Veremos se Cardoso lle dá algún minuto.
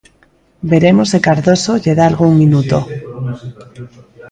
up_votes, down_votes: 0, 2